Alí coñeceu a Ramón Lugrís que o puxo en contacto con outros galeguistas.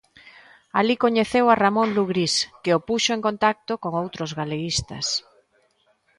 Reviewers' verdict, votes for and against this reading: accepted, 2, 0